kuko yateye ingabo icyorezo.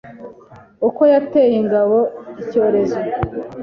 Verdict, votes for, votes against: accepted, 2, 0